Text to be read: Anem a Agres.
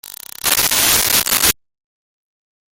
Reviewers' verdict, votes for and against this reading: rejected, 0, 2